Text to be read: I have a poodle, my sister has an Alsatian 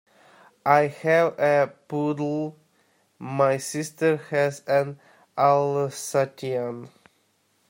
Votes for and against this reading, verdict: 0, 2, rejected